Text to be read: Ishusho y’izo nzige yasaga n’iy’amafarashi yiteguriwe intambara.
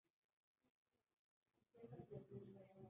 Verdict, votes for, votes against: rejected, 1, 2